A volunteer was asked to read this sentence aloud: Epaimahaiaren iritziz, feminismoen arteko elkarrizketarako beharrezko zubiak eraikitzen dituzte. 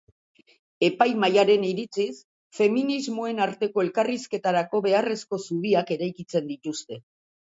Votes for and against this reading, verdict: 1, 2, rejected